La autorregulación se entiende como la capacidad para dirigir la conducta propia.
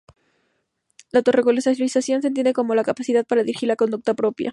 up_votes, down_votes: 0, 4